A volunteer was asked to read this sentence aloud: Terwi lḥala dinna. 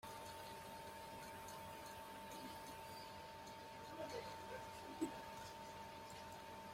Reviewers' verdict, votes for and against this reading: rejected, 0, 2